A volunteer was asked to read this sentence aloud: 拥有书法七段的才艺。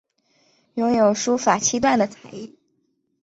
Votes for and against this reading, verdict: 8, 0, accepted